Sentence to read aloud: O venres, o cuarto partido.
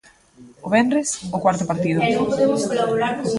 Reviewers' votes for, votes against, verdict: 1, 2, rejected